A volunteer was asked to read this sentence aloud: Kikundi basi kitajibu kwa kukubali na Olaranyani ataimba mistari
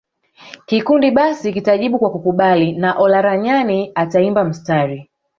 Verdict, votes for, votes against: rejected, 1, 2